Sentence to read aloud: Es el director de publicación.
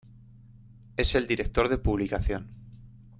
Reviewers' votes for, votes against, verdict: 2, 0, accepted